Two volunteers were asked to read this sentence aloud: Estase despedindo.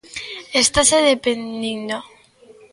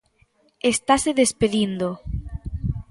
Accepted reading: second